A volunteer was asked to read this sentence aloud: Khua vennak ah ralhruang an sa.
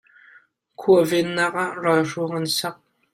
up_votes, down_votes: 1, 2